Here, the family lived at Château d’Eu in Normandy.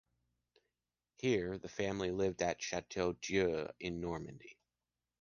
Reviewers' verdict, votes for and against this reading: accepted, 3, 0